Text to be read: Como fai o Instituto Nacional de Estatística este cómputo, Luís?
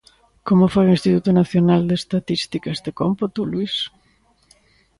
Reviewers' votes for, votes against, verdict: 2, 0, accepted